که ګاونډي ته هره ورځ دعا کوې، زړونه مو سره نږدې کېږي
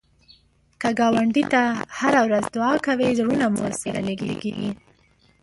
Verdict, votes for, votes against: accepted, 2, 1